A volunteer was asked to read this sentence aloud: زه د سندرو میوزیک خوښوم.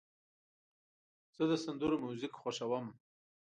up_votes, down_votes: 2, 0